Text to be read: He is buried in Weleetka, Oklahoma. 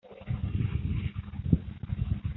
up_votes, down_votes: 0, 2